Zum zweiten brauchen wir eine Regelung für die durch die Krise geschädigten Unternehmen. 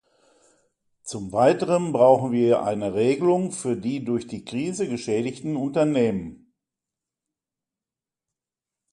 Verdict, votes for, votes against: rejected, 0, 2